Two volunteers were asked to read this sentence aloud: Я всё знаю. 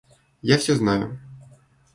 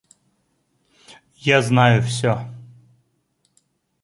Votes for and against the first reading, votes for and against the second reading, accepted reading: 2, 0, 0, 2, first